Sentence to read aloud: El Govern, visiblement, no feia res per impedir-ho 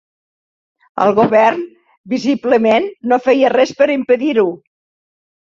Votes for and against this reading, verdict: 2, 0, accepted